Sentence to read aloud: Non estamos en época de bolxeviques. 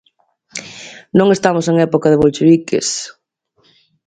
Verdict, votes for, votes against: rejected, 0, 2